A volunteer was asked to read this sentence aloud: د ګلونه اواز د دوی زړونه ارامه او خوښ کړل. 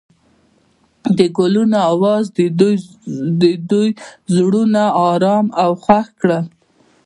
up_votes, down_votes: 0, 2